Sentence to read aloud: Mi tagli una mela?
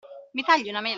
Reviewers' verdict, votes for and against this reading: accepted, 2, 1